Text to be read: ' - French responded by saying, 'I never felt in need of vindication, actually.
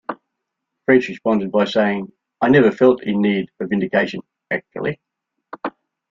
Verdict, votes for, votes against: accepted, 2, 0